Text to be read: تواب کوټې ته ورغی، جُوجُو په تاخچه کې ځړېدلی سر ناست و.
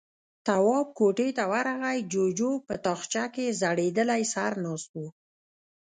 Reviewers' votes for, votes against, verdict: 1, 2, rejected